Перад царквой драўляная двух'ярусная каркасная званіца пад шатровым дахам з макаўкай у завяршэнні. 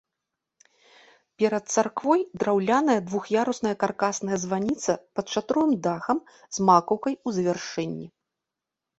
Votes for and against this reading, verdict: 2, 0, accepted